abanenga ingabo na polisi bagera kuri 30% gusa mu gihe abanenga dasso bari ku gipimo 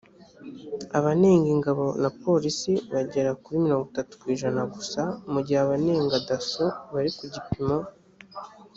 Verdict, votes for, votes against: rejected, 0, 2